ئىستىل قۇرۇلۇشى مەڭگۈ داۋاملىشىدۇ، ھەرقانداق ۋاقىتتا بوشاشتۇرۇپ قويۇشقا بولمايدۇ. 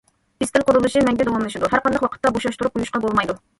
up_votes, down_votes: 0, 2